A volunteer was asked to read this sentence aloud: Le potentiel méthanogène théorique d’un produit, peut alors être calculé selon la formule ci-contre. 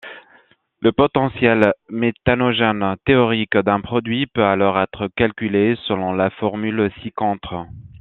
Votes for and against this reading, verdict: 2, 0, accepted